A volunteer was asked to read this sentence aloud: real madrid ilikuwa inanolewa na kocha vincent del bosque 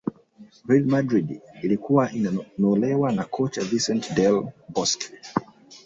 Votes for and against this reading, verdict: 1, 2, rejected